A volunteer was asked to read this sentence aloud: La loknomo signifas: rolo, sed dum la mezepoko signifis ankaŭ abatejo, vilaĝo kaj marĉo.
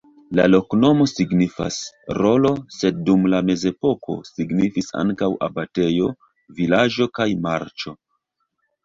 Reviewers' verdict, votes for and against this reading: rejected, 1, 2